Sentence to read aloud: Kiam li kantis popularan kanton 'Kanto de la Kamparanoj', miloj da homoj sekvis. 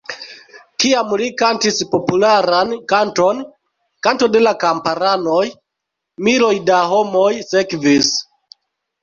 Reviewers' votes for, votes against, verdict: 2, 0, accepted